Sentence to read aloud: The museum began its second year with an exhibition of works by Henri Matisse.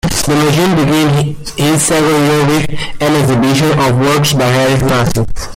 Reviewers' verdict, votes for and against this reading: rejected, 0, 2